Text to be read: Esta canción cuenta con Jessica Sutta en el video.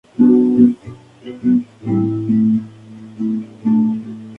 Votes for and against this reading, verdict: 0, 2, rejected